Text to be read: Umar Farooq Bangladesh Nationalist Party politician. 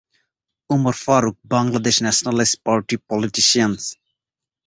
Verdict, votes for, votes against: rejected, 0, 2